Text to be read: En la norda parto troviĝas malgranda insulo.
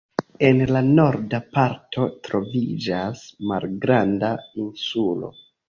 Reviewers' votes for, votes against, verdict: 2, 0, accepted